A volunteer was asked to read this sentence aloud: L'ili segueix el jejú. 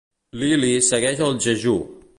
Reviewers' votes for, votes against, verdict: 2, 0, accepted